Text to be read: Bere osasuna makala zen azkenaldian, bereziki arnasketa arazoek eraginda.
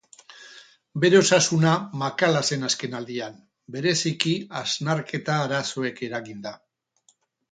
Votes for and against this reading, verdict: 0, 4, rejected